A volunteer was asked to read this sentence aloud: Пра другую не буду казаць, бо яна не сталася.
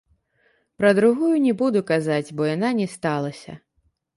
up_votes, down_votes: 0, 2